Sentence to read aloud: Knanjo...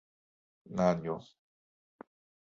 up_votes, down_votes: 2, 1